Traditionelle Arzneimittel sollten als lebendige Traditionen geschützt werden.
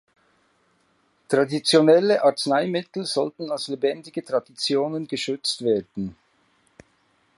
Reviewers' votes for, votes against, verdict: 2, 0, accepted